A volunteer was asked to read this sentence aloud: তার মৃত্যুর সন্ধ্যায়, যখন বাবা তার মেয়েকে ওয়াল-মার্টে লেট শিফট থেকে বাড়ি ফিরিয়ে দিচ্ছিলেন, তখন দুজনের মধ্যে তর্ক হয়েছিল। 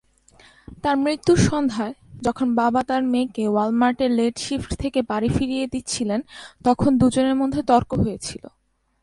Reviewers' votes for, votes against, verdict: 2, 0, accepted